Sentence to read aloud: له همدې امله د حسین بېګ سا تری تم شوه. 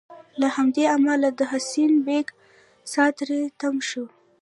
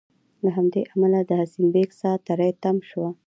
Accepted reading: second